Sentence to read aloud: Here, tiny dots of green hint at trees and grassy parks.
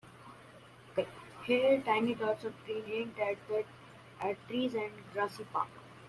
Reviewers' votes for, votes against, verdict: 0, 2, rejected